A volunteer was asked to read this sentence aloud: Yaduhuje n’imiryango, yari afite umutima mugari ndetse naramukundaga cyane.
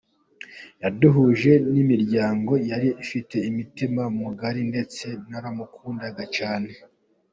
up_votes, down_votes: 3, 1